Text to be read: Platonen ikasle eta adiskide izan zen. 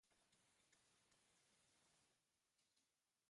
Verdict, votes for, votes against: rejected, 0, 2